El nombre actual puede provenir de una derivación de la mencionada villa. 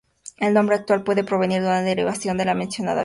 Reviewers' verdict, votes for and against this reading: rejected, 0, 4